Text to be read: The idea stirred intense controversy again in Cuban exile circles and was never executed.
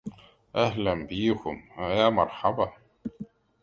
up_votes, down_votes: 0, 2